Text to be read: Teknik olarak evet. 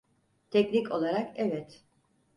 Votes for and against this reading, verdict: 4, 0, accepted